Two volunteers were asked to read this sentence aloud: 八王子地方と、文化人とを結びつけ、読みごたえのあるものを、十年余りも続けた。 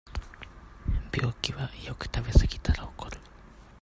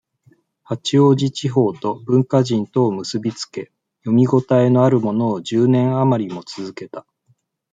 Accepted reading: second